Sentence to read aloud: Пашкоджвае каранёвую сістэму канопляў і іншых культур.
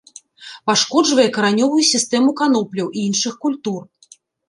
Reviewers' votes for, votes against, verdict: 2, 0, accepted